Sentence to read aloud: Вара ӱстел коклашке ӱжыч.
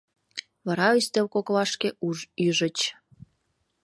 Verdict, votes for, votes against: rejected, 0, 2